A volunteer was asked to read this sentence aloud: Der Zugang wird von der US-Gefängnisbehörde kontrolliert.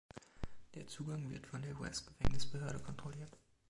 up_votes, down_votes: 2, 0